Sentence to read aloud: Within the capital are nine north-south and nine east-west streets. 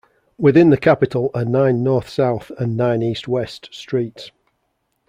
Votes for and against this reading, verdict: 2, 0, accepted